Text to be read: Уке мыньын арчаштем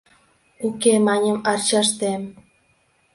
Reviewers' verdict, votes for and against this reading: rejected, 1, 2